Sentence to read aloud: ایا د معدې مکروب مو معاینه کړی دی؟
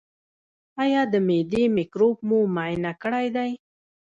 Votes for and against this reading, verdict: 1, 2, rejected